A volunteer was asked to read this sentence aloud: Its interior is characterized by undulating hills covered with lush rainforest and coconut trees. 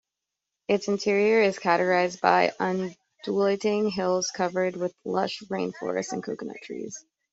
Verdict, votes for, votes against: rejected, 0, 2